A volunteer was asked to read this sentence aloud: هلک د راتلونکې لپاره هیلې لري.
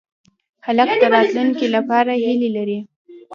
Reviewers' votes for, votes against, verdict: 0, 2, rejected